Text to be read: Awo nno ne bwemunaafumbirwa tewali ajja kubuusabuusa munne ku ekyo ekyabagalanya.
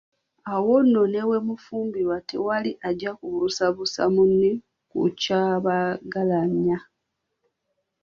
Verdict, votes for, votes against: rejected, 1, 2